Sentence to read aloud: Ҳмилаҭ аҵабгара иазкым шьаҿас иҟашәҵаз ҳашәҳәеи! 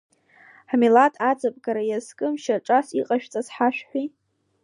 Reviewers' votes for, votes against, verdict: 2, 0, accepted